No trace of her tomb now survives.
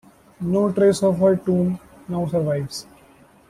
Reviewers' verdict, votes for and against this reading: rejected, 1, 2